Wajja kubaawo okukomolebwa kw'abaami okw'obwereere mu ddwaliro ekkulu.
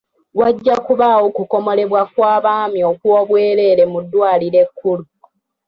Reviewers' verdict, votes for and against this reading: rejected, 0, 2